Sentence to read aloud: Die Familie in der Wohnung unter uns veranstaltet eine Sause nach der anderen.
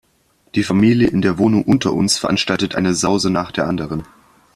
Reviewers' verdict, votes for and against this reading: accepted, 2, 0